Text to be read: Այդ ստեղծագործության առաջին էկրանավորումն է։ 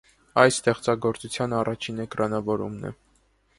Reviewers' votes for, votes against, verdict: 2, 0, accepted